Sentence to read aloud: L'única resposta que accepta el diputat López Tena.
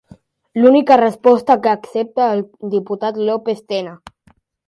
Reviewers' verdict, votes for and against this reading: accepted, 2, 0